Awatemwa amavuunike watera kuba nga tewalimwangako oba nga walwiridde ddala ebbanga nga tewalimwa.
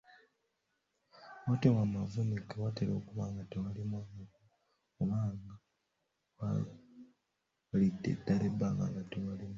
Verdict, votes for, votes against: rejected, 0, 2